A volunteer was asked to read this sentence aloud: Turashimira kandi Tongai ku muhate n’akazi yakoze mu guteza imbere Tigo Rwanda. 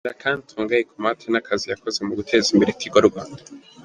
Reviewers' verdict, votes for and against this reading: accepted, 3, 2